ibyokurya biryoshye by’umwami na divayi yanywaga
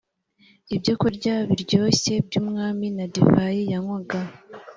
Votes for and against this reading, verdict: 2, 0, accepted